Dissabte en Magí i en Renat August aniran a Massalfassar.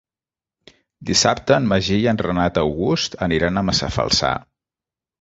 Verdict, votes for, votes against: rejected, 1, 3